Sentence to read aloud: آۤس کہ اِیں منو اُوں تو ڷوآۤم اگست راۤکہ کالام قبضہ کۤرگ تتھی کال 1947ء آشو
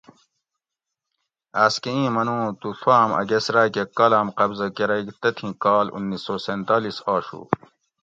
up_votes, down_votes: 0, 2